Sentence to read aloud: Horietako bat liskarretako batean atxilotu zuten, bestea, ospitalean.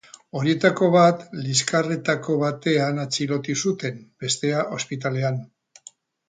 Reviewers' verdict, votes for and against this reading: rejected, 0, 2